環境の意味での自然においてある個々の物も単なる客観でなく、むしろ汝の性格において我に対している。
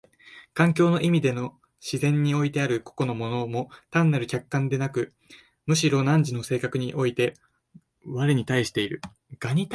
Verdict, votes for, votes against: rejected, 0, 2